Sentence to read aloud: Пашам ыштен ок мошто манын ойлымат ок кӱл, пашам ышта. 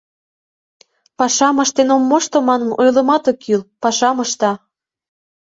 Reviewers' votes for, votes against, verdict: 1, 2, rejected